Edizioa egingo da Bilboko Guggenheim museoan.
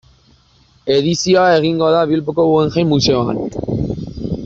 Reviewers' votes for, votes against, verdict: 2, 0, accepted